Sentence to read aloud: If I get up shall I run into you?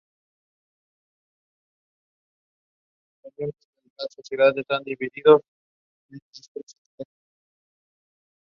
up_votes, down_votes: 0, 2